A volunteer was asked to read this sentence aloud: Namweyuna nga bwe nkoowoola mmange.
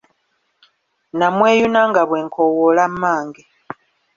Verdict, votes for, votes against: accepted, 3, 1